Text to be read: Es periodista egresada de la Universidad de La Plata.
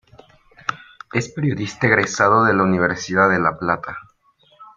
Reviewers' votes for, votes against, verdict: 1, 2, rejected